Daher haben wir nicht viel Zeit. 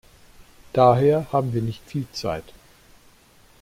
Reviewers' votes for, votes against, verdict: 2, 0, accepted